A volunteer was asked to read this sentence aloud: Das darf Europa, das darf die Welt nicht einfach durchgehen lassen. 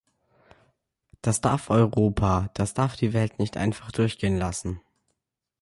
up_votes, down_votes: 2, 0